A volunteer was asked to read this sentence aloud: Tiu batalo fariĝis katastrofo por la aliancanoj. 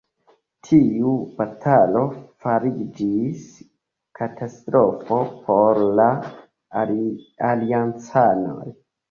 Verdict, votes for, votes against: accepted, 2, 0